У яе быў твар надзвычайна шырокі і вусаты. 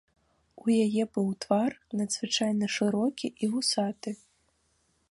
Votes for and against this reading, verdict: 2, 1, accepted